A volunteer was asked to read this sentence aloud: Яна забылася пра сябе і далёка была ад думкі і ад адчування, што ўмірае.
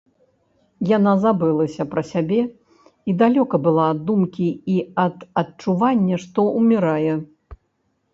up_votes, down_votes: 1, 2